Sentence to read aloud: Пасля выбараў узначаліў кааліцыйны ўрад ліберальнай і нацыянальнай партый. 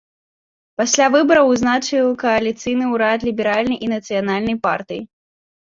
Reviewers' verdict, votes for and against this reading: rejected, 0, 2